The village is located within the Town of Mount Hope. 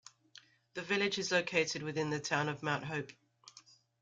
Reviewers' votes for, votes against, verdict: 3, 0, accepted